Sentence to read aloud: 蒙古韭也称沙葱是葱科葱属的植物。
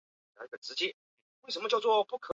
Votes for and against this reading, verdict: 0, 3, rejected